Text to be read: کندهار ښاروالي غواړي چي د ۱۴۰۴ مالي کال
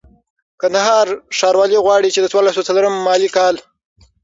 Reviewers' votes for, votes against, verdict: 0, 2, rejected